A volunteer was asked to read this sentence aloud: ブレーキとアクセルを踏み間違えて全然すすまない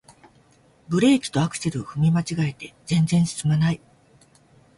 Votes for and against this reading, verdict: 2, 0, accepted